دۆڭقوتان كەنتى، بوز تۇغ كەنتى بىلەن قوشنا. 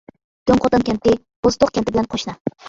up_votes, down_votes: 0, 2